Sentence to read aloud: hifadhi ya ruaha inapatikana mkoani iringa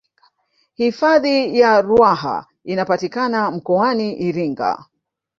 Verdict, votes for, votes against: accepted, 4, 0